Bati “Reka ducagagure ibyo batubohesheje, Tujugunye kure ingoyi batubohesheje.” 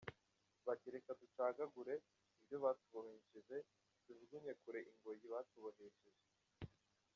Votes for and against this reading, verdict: 1, 2, rejected